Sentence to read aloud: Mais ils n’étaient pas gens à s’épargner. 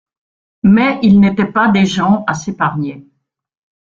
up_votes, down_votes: 0, 2